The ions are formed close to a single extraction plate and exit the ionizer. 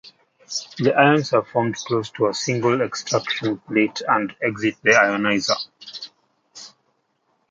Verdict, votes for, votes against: accepted, 2, 0